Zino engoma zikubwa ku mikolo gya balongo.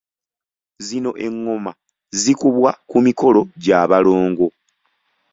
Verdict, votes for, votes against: accepted, 2, 0